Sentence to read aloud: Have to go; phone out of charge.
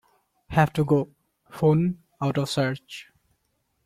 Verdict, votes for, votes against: rejected, 1, 2